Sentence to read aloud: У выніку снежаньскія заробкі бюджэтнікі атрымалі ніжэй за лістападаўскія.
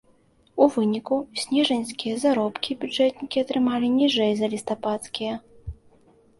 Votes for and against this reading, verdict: 0, 2, rejected